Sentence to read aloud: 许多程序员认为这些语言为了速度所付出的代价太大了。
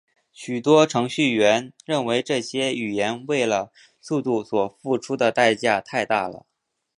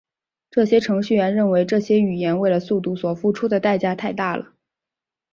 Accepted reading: first